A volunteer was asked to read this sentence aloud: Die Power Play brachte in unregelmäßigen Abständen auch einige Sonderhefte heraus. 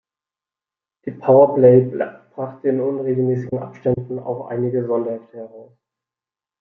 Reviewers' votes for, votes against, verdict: 0, 2, rejected